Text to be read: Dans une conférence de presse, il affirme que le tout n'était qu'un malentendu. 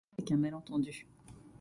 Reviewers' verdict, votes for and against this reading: rejected, 0, 2